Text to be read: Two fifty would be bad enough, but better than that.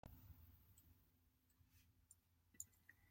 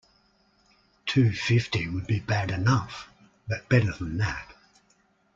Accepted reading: second